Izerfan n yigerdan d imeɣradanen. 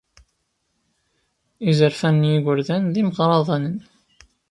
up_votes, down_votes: 0, 2